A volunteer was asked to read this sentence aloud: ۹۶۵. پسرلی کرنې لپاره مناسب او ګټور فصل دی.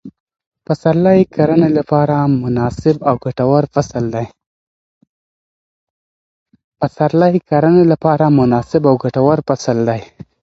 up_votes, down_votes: 0, 2